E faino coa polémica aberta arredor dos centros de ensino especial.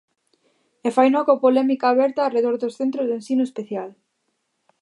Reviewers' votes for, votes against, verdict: 2, 0, accepted